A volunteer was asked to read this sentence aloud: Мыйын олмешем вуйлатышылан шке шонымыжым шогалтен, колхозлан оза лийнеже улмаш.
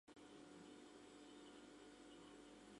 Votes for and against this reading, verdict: 0, 2, rejected